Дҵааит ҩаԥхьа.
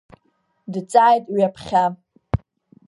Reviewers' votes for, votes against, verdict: 2, 0, accepted